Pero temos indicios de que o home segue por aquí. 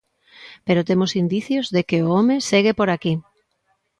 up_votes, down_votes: 2, 0